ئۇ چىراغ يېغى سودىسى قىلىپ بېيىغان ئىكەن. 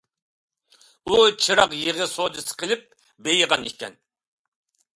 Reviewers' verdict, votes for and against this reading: accepted, 2, 0